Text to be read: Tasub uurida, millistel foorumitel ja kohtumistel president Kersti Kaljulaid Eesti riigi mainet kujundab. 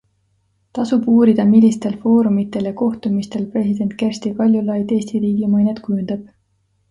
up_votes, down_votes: 2, 0